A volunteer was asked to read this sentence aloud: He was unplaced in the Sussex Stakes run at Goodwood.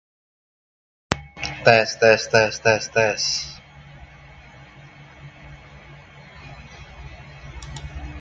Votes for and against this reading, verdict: 0, 2, rejected